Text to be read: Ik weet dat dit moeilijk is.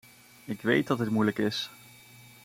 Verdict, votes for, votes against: accepted, 2, 0